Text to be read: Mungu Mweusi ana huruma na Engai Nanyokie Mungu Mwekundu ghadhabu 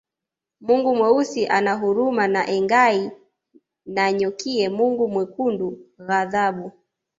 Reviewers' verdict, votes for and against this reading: accepted, 2, 0